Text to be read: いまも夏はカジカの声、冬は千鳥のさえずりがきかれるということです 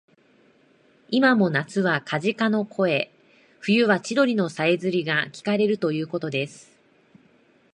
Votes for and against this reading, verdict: 3, 2, accepted